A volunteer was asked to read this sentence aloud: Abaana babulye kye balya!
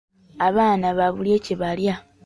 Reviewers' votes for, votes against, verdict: 2, 0, accepted